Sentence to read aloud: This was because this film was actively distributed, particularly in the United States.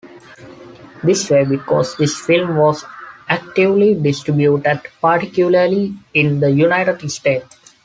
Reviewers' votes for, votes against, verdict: 0, 2, rejected